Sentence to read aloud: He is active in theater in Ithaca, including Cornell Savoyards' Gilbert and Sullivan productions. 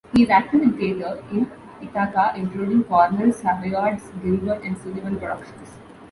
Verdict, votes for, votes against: rejected, 1, 3